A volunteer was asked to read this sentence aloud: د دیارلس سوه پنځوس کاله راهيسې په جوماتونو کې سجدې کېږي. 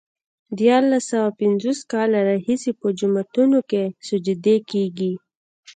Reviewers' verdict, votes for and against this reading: rejected, 1, 2